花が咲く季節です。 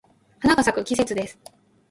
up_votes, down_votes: 0, 2